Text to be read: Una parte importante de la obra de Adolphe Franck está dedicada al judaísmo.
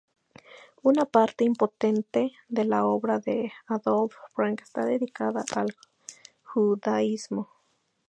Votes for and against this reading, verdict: 0, 2, rejected